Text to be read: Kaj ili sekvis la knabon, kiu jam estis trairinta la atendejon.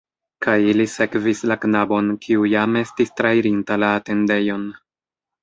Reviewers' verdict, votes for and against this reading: rejected, 1, 2